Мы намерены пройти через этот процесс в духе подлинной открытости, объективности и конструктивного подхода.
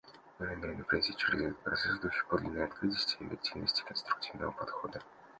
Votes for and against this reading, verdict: 2, 1, accepted